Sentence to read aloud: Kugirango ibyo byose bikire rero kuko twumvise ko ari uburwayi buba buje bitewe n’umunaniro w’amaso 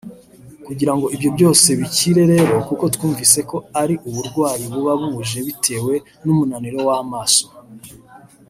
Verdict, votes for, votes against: rejected, 0, 2